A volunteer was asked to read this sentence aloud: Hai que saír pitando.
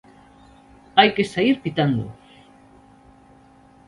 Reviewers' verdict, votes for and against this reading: accepted, 2, 0